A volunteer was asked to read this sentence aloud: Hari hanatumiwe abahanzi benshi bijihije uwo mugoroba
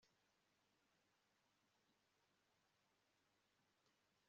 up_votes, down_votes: 0, 2